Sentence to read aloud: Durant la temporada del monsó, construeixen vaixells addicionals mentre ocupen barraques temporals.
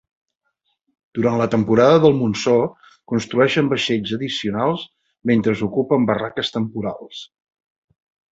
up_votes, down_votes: 0, 2